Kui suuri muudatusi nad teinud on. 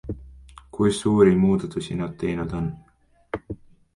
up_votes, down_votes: 2, 0